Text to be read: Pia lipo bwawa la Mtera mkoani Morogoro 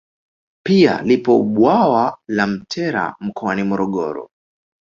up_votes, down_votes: 2, 1